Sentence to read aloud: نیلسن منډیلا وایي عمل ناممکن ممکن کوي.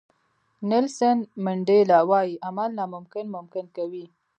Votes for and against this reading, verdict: 2, 1, accepted